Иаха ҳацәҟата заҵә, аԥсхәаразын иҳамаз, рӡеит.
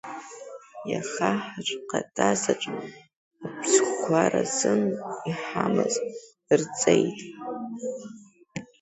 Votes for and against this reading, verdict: 0, 2, rejected